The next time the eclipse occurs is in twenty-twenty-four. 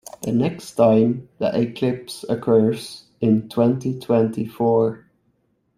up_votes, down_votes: 0, 2